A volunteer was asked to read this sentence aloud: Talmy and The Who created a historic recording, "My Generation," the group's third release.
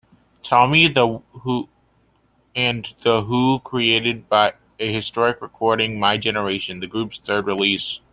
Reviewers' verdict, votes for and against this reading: rejected, 0, 2